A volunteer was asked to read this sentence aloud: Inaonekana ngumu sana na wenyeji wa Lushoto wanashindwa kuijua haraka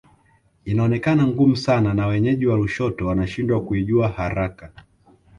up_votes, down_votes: 2, 0